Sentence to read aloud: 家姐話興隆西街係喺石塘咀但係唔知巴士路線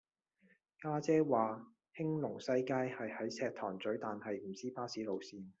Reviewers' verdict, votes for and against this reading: accepted, 2, 0